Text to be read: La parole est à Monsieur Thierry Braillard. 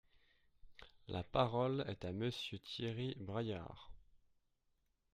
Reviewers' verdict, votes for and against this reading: accepted, 2, 0